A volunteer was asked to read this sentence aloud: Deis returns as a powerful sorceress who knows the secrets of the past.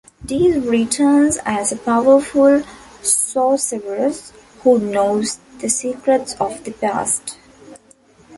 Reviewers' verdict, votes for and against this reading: accepted, 2, 1